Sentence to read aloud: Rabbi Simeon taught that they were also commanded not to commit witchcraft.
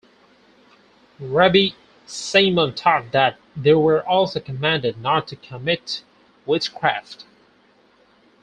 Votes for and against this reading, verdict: 0, 4, rejected